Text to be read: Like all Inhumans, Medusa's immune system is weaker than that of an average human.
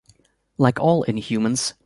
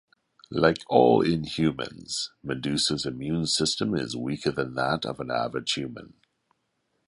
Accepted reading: second